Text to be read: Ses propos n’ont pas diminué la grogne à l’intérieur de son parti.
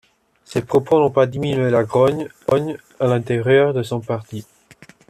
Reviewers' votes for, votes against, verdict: 0, 2, rejected